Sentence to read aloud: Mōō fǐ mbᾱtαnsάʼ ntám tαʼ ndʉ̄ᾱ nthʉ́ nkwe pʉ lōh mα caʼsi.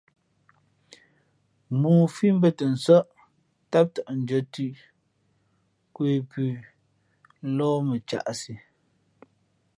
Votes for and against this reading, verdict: 2, 1, accepted